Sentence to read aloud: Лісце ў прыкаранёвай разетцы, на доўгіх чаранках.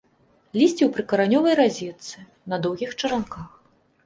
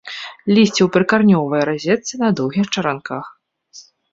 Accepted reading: first